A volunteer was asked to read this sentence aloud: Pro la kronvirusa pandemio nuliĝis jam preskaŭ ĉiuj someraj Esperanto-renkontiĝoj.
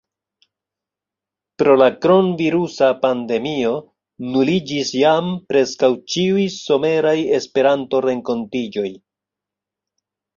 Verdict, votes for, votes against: accepted, 2, 1